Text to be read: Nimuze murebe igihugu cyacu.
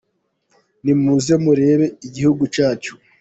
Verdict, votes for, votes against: accepted, 2, 1